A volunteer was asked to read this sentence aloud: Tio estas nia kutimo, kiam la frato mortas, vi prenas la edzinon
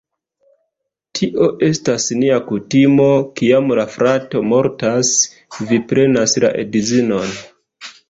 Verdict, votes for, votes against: accepted, 2, 0